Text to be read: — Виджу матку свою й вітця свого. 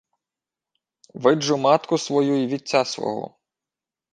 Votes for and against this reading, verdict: 2, 0, accepted